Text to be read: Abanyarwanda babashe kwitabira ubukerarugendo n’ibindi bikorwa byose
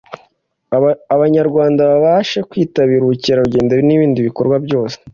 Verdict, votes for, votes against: rejected, 1, 2